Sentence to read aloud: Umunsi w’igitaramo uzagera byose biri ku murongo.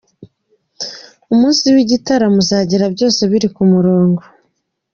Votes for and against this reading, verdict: 2, 0, accepted